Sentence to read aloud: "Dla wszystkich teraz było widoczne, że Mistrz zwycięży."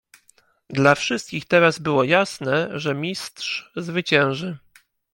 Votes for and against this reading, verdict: 1, 2, rejected